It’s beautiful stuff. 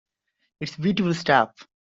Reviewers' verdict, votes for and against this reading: accepted, 2, 0